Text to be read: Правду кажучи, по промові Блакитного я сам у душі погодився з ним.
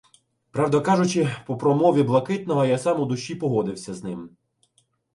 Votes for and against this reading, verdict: 2, 0, accepted